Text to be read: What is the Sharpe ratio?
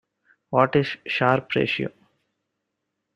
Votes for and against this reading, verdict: 1, 2, rejected